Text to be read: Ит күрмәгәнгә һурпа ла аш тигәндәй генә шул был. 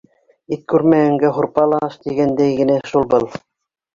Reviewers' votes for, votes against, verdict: 1, 2, rejected